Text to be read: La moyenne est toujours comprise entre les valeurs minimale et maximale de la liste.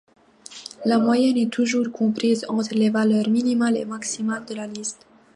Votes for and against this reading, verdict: 2, 0, accepted